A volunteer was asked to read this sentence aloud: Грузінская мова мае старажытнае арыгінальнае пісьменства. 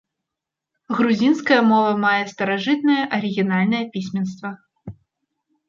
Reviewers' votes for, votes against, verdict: 1, 2, rejected